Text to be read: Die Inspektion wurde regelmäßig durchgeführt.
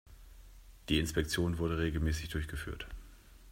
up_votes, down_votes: 2, 0